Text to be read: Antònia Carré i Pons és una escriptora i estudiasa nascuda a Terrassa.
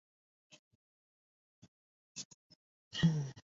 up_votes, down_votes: 0, 2